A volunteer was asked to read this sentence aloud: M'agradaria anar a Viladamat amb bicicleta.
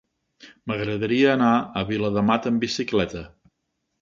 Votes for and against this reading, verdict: 3, 0, accepted